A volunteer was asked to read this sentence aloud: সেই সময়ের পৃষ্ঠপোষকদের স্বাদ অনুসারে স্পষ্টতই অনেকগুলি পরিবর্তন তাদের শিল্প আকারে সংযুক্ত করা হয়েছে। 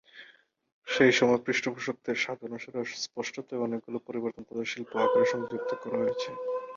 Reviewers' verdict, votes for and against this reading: accepted, 2, 0